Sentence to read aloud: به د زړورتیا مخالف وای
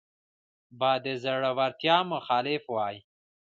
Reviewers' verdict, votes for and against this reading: accepted, 2, 0